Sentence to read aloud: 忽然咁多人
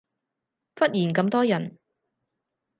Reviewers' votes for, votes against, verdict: 4, 0, accepted